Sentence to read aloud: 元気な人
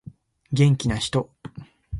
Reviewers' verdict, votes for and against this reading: accepted, 2, 0